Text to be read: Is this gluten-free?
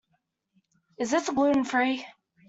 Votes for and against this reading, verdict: 2, 0, accepted